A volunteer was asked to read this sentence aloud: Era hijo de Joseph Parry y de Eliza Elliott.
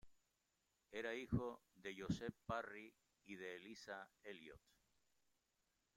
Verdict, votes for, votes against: accepted, 2, 1